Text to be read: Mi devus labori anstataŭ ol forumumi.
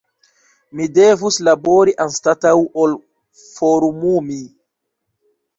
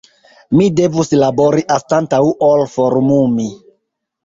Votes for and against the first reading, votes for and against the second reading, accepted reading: 2, 0, 0, 2, first